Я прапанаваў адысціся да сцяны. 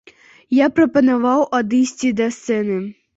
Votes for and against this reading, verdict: 0, 2, rejected